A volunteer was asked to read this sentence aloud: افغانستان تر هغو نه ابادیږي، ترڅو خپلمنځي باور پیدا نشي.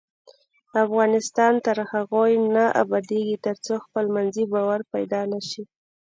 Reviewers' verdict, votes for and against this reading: rejected, 1, 2